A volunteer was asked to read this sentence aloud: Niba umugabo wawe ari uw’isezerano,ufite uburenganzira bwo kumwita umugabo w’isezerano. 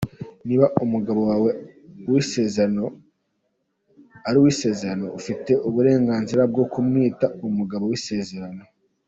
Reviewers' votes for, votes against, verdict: 1, 2, rejected